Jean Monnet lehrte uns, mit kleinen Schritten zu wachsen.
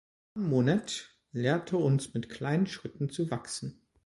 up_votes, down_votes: 1, 2